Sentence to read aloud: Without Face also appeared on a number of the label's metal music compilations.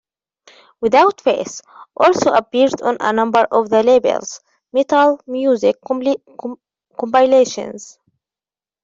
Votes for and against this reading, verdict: 0, 2, rejected